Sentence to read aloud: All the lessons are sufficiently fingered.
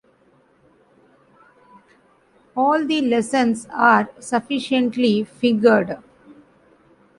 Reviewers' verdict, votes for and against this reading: accepted, 2, 0